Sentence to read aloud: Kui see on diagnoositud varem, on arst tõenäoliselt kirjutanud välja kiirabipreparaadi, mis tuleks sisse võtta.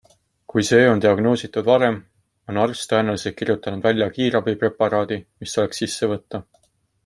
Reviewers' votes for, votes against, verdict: 2, 0, accepted